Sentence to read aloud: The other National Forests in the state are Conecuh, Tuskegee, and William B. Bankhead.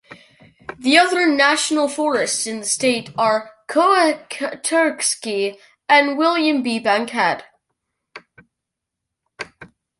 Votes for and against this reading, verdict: 0, 2, rejected